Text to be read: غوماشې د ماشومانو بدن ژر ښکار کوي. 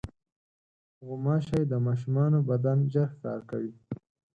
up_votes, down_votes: 4, 0